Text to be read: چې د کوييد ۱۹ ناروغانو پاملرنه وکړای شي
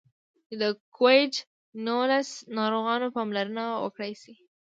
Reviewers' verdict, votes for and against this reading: rejected, 0, 2